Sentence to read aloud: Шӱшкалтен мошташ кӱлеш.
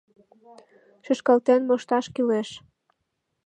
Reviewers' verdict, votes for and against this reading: accepted, 2, 0